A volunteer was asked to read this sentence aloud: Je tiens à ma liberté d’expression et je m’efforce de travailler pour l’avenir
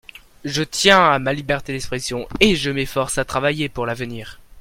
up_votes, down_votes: 0, 2